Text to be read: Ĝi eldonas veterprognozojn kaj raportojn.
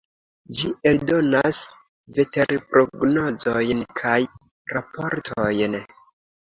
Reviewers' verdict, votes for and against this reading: accepted, 2, 0